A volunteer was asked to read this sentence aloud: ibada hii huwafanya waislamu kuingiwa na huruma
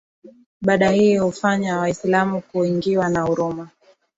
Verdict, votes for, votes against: rejected, 1, 2